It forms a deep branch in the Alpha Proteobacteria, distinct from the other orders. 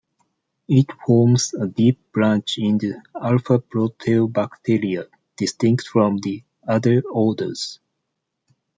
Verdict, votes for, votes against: rejected, 1, 2